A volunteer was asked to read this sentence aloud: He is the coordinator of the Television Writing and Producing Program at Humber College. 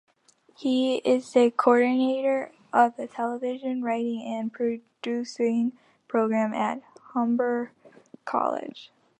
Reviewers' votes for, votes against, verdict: 2, 1, accepted